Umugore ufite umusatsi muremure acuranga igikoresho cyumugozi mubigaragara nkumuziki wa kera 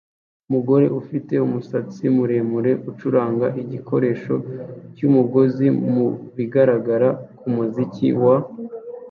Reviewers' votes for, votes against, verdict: 1, 2, rejected